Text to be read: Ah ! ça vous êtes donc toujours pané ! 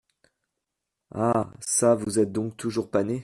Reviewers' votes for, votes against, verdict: 2, 0, accepted